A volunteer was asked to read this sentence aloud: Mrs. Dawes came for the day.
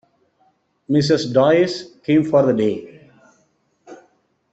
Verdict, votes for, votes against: rejected, 1, 2